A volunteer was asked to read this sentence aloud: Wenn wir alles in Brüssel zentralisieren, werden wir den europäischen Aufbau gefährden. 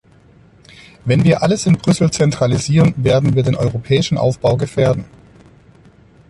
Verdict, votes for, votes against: accepted, 2, 0